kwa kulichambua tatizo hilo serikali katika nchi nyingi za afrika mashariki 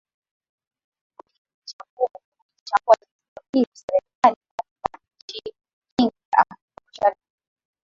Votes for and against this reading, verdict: 0, 4, rejected